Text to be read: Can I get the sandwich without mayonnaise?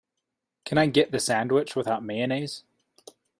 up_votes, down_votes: 2, 0